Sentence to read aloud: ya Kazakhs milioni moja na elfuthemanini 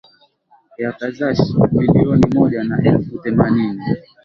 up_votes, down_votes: 0, 2